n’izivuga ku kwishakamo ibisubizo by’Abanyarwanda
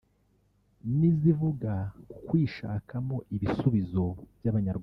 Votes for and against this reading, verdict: 2, 3, rejected